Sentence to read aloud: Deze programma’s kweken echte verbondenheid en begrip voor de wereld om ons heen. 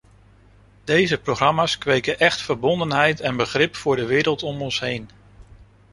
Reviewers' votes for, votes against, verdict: 0, 2, rejected